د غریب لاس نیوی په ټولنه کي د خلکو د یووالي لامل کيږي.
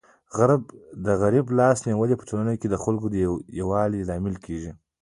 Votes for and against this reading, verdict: 1, 2, rejected